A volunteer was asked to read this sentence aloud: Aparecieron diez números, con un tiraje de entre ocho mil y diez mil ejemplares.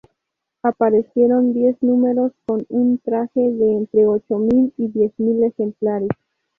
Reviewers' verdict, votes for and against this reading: rejected, 2, 2